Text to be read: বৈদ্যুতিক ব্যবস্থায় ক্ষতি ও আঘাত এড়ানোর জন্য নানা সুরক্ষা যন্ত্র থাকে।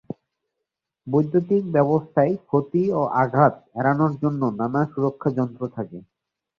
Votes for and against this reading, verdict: 2, 0, accepted